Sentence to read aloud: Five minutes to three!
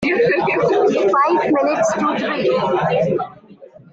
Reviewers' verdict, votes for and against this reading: rejected, 0, 2